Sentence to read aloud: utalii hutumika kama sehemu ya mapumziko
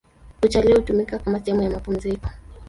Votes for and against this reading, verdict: 0, 2, rejected